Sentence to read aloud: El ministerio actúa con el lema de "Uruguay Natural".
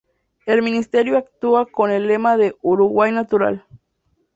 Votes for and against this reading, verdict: 2, 0, accepted